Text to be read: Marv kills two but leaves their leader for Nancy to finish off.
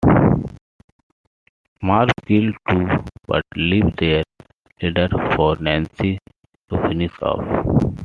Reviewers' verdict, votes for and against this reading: accepted, 2, 0